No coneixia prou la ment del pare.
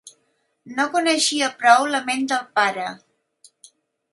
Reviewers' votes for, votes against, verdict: 4, 0, accepted